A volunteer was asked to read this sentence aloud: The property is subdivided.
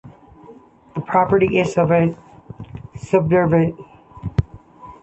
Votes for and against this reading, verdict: 1, 2, rejected